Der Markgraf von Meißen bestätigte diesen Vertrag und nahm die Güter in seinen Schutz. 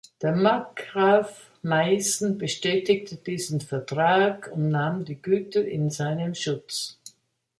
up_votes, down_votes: 0, 2